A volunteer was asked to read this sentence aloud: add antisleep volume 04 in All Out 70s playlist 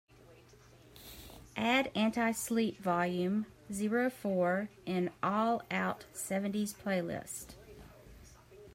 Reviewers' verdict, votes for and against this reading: rejected, 0, 2